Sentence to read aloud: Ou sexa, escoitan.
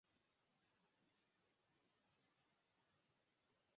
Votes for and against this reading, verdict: 2, 4, rejected